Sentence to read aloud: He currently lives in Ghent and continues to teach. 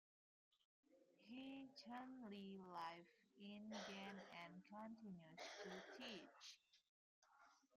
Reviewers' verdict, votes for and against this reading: rejected, 1, 2